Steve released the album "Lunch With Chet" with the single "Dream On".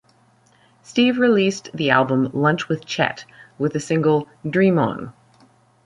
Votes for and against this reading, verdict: 2, 0, accepted